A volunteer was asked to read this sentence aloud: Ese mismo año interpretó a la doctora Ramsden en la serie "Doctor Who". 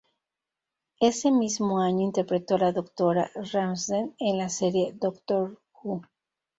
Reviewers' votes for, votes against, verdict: 0, 2, rejected